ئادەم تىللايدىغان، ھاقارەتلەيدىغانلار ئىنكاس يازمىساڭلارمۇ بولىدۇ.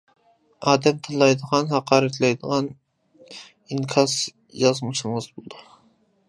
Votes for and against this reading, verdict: 0, 2, rejected